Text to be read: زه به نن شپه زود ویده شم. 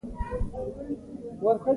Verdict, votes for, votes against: rejected, 1, 2